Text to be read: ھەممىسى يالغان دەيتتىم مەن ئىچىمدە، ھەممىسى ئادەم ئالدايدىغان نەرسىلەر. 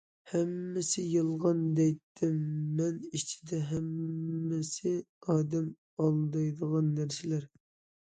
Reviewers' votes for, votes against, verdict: 0, 2, rejected